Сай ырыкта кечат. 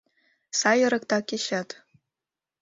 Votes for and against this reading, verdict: 4, 0, accepted